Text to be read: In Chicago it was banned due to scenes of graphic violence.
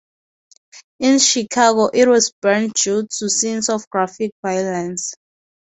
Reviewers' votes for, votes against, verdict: 2, 2, rejected